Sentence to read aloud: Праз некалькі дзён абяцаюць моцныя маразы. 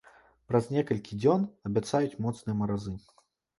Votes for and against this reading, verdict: 2, 0, accepted